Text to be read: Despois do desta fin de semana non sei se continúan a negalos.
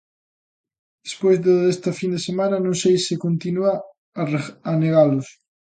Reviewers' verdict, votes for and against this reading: rejected, 0, 2